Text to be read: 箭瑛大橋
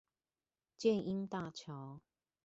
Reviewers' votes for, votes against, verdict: 2, 0, accepted